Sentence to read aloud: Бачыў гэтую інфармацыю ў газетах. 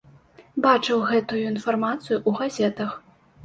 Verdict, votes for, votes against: rejected, 1, 2